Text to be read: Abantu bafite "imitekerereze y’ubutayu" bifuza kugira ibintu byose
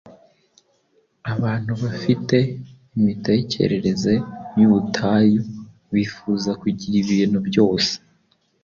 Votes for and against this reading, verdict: 2, 0, accepted